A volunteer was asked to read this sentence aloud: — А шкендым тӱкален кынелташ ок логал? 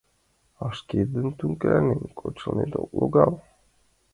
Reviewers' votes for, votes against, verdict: 0, 2, rejected